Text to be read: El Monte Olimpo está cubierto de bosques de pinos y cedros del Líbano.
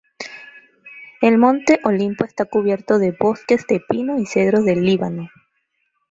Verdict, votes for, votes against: rejected, 1, 2